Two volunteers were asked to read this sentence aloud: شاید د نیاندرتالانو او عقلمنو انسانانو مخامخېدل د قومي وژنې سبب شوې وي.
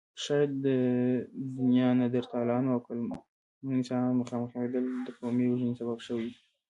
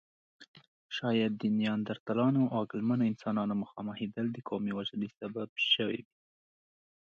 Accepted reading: second